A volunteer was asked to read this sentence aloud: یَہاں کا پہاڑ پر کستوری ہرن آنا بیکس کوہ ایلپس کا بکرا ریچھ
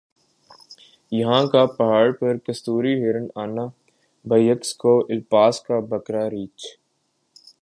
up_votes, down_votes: 3, 1